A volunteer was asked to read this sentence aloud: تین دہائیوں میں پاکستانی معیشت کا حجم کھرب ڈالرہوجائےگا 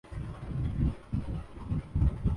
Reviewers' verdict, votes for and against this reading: rejected, 0, 2